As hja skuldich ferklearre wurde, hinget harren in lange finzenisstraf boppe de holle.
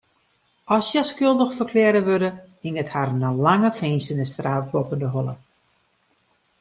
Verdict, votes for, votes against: accepted, 2, 0